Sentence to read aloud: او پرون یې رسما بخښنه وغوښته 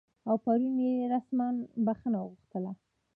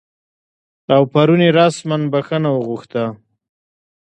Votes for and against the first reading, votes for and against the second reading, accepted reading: 2, 0, 1, 2, first